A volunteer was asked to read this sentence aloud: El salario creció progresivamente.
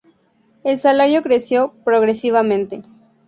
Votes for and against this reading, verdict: 2, 0, accepted